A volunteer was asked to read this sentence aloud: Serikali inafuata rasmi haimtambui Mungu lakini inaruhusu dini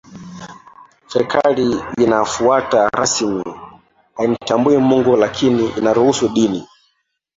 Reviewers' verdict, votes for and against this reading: rejected, 0, 2